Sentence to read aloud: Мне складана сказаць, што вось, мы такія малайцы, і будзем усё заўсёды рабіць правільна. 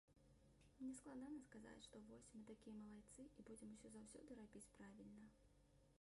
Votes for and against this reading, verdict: 1, 2, rejected